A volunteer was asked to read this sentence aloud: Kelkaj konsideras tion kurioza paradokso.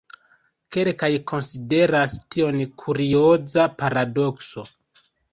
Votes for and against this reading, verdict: 2, 1, accepted